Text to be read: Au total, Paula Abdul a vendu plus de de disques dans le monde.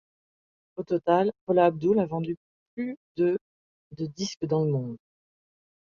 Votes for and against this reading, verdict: 2, 0, accepted